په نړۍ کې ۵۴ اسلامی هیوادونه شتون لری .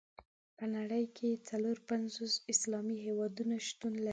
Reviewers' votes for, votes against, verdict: 0, 2, rejected